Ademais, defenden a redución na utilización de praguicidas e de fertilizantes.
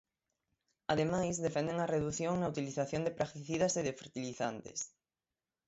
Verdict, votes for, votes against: accepted, 6, 0